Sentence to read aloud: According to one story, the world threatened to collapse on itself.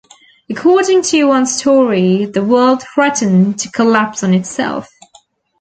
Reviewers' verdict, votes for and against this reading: accepted, 2, 0